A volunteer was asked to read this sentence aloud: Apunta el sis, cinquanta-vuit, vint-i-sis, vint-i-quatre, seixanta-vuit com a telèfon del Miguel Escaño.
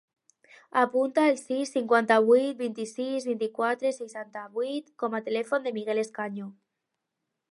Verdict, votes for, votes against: accepted, 2, 0